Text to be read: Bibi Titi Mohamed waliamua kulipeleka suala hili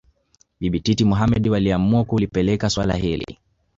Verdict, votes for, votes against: accepted, 5, 1